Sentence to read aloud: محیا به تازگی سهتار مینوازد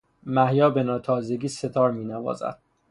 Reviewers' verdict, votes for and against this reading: rejected, 0, 3